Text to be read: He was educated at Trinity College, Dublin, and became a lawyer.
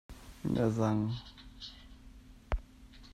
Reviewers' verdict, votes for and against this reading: rejected, 0, 2